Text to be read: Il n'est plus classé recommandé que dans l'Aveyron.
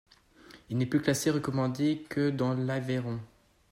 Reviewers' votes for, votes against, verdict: 2, 0, accepted